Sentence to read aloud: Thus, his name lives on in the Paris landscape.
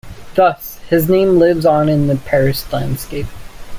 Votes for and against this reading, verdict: 2, 0, accepted